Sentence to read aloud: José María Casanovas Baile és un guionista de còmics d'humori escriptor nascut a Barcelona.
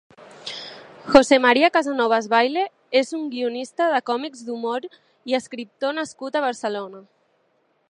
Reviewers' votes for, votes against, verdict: 0, 2, rejected